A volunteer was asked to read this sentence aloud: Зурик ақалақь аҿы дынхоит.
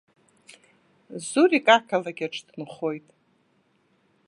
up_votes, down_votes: 3, 0